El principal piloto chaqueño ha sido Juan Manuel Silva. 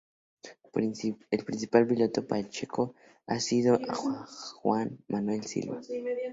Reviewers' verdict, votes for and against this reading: rejected, 0, 2